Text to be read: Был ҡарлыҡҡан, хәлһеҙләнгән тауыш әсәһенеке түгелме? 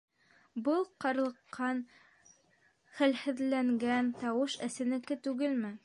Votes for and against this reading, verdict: 0, 3, rejected